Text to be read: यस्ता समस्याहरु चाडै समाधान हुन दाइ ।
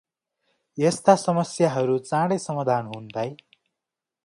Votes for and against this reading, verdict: 2, 0, accepted